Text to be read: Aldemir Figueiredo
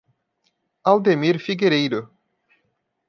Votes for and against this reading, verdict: 1, 2, rejected